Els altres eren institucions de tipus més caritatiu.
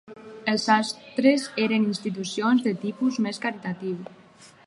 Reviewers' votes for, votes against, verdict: 2, 2, rejected